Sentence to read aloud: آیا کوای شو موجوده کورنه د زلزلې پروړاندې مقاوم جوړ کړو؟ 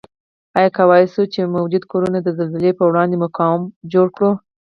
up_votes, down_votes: 4, 2